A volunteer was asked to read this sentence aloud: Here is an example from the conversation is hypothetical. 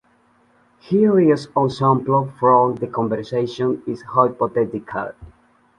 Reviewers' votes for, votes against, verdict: 0, 2, rejected